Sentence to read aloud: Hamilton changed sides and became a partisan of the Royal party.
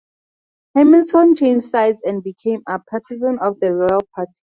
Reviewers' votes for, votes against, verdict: 0, 4, rejected